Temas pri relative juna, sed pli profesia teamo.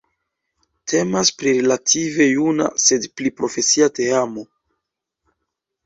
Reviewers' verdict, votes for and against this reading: rejected, 1, 2